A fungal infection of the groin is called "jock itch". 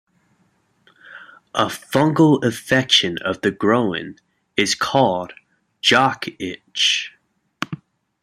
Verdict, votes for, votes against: rejected, 1, 2